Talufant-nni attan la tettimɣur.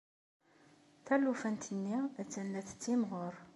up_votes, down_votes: 2, 0